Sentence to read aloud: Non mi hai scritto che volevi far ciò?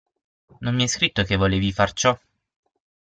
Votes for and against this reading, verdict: 6, 0, accepted